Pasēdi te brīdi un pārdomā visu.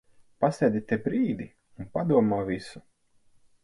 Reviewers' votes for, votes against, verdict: 0, 4, rejected